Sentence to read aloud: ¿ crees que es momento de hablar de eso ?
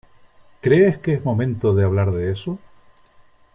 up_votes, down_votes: 3, 0